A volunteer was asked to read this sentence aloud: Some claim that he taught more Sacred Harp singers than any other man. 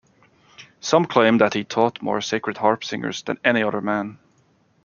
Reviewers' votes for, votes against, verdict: 2, 0, accepted